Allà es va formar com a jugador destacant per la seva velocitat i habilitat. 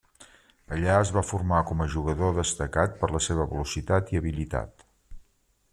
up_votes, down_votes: 1, 2